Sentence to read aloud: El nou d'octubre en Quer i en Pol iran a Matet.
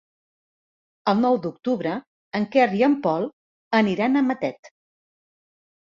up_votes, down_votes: 0, 3